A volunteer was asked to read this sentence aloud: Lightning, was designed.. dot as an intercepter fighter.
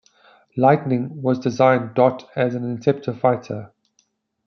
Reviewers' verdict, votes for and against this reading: accepted, 2, 0